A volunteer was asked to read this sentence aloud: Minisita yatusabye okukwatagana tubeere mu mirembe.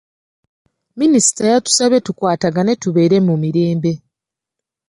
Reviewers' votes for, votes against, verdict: 1, 3, rejected